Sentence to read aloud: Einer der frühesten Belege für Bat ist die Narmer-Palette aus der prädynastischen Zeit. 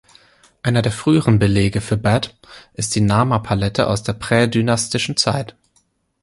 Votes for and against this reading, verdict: 0, 2, rejected